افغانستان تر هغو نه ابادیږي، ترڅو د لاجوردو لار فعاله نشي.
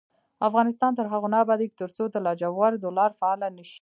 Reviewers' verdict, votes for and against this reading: rejected, 1, 2